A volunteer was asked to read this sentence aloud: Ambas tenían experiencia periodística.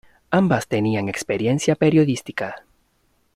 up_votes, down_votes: 0, 2